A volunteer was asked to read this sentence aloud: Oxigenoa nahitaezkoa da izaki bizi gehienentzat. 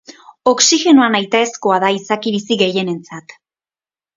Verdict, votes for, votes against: accepted, 2, 0